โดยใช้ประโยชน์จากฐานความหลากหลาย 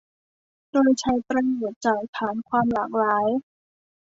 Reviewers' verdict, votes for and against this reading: rejected, 1, 2